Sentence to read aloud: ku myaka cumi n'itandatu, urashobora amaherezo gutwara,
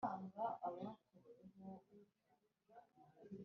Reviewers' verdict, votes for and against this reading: rejected, 0, 2